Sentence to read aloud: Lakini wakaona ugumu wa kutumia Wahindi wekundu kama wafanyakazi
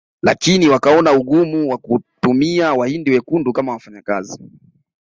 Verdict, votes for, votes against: rejected, 1, 2